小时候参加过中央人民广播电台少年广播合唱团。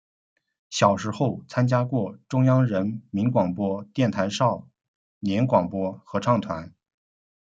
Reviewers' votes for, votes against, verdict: 1, 2, rejected